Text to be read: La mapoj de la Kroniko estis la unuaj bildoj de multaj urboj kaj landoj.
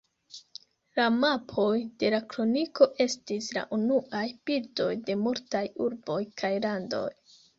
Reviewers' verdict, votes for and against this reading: accepted, 2, 0